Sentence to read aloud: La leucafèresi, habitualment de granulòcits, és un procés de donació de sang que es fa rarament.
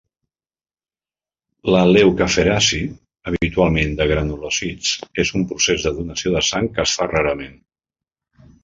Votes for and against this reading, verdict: 0, 2, rejected